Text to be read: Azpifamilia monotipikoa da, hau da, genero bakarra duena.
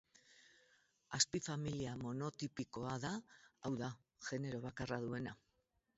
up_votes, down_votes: 4, 0